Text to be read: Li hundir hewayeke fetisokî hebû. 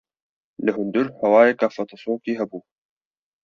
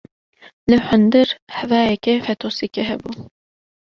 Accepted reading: first